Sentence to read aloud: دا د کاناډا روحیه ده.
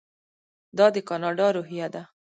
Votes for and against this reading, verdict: 1, 2, rejected